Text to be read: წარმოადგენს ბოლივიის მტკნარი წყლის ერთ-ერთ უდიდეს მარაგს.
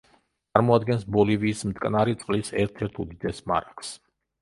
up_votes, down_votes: 1, 2